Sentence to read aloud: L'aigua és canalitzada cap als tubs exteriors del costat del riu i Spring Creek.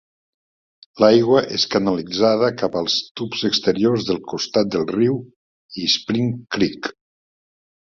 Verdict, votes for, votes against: accepted, 2, 0